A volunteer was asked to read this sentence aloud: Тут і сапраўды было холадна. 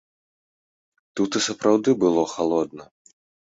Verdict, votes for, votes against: rejected, 0, 2